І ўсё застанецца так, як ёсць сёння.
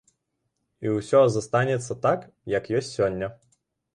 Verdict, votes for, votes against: rejected, 1, 2